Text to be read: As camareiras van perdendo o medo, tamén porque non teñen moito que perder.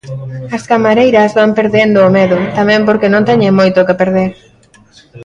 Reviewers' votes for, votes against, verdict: 2, 0, accepted